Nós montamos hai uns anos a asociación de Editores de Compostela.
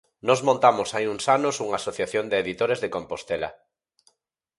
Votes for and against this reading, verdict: 0, 4, rejected